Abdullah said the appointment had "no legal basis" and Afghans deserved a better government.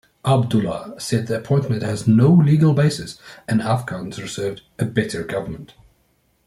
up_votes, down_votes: 1, 2